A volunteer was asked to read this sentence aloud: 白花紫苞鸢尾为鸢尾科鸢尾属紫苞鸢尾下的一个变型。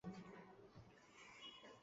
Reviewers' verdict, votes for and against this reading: rejected, 0, 2